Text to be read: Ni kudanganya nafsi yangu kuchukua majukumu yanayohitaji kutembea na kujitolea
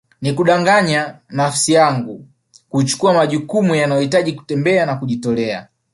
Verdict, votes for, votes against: accepted, 2, 0